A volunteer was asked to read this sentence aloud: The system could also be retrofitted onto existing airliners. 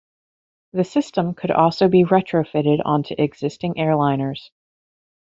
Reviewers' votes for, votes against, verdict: 2, 0, accepted